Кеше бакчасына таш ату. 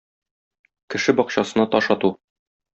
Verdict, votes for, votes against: accepted, 2, 0